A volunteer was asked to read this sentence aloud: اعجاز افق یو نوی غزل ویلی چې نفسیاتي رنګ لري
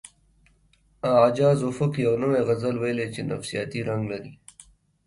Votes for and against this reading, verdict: 2, 1, accepted